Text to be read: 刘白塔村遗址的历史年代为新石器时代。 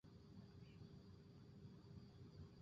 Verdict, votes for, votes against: rejected, 3, 4